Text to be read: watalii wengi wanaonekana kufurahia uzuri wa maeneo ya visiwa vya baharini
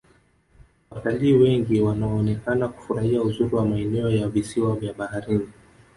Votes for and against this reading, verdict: 1, 2, rejected